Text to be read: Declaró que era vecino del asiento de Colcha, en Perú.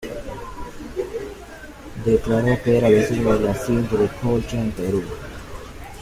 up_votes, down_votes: 1, 2